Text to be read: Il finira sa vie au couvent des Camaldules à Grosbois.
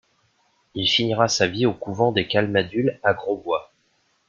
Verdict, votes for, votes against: accepted, 2, 0